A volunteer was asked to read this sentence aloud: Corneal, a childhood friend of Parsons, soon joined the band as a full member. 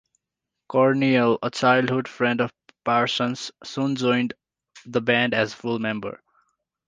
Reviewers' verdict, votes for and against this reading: rejected, 0, 2